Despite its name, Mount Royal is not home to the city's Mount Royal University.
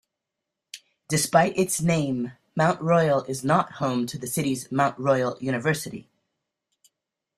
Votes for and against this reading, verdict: 2, 0, accepted